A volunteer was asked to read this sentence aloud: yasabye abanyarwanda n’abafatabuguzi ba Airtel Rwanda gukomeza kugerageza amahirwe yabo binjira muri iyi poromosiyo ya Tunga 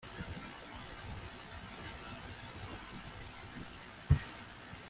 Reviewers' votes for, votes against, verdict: 0, 2, rejected